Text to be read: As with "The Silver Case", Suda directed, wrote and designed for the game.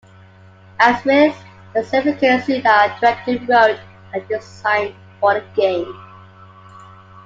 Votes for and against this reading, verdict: 0, 2, rejected